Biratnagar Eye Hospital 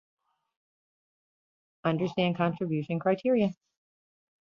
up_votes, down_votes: 0, 2